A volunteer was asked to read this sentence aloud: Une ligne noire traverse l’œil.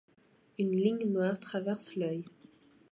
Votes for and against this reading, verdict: 2, 0, accepted